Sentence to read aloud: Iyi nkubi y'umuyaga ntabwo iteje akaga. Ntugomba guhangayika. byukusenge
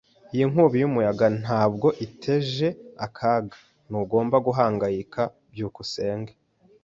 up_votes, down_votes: 2, 0